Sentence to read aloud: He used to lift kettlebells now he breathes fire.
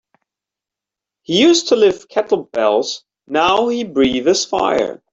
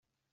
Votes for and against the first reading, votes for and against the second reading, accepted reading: 2, 0, 0, 3, first